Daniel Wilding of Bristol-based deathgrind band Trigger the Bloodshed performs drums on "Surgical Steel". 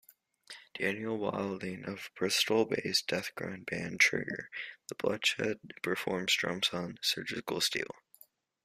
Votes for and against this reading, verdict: 2, 0, accepted